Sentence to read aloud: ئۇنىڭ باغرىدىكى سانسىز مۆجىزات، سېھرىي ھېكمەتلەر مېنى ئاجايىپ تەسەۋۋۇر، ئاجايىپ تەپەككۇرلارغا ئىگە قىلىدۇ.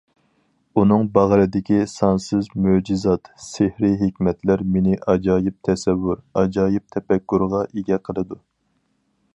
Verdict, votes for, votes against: rejected, 0, 4